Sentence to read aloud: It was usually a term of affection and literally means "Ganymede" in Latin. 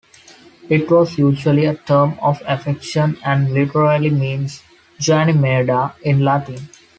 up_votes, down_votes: 2, 1